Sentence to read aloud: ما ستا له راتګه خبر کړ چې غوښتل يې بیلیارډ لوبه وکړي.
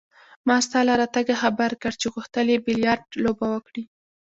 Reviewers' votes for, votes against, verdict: 2, 0, accepted